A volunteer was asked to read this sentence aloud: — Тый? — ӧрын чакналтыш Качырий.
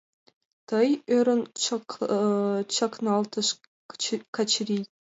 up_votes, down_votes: 2, 1